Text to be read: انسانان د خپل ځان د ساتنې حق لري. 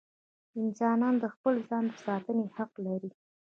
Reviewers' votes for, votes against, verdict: 2, 1, accepted